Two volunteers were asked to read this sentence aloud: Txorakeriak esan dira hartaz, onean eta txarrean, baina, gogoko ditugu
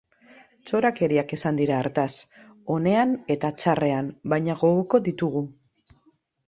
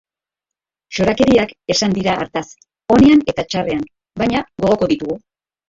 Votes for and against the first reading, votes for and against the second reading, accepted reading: 2, 0, 2, 2, first